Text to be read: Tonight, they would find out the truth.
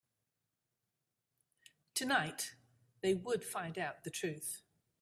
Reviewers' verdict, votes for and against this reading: accepted, 2, 0